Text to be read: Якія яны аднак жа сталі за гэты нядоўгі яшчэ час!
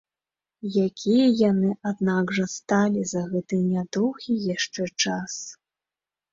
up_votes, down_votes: 3, 0